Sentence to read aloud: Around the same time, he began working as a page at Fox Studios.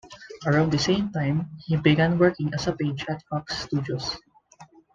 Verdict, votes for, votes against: accepted, 2, 0